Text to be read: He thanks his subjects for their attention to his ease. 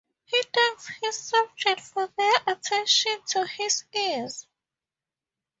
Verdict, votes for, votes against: accepted, 2, 0